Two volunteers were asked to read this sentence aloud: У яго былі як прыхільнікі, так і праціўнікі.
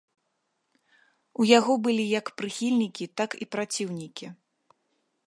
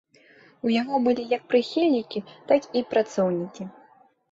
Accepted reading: first